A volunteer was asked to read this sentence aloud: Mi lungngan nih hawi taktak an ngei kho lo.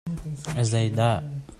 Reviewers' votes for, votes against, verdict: 0, 2, rejected